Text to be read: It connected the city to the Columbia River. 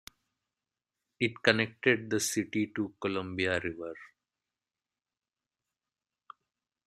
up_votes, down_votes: 0, 2